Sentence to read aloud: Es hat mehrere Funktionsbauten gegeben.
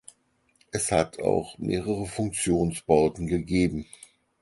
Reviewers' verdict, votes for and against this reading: rejected, 0, 4